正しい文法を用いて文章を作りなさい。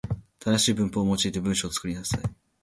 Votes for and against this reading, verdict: 2, 0, accepted